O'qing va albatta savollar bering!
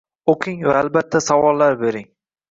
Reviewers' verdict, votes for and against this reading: accepted, 2, 0